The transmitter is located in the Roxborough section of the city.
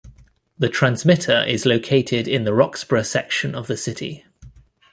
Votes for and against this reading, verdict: 2, 0, accepted